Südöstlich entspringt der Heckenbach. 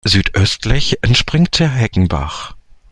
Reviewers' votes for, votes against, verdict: 2, 0, accepted